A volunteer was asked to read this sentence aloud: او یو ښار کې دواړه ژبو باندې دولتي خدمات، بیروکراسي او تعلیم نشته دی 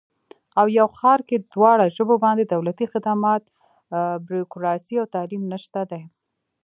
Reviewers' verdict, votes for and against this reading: rejected, 1, 2